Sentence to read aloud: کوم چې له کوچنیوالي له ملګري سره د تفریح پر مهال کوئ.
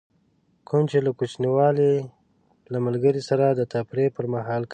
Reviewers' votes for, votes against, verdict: 0, 2, rejected